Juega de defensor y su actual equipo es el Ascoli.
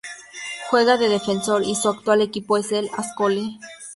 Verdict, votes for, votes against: accepted, 2, 0